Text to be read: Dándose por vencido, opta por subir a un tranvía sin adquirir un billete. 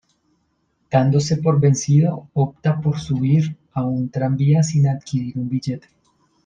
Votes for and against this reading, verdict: 2, 0, accepted